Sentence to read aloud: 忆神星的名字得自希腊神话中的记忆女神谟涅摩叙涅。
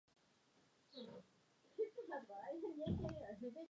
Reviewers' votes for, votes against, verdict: 0, 2, rejected